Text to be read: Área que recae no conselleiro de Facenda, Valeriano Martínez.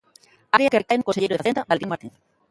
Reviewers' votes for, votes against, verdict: 0, 2, rejected